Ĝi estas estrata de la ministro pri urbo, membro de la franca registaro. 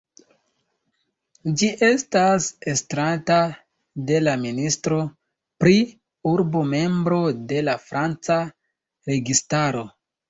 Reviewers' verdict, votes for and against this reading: accepted, 2, 1